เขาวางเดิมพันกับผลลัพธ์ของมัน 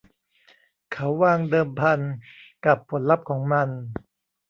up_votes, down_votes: 2, 0